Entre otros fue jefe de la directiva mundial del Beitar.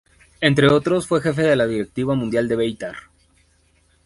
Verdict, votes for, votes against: rejected, 0, 3